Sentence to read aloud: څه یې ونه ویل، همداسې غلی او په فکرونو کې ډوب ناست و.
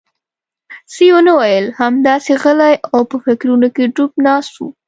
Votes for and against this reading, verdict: 2, 0, accepted